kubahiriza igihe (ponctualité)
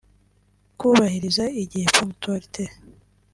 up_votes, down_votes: 2, 0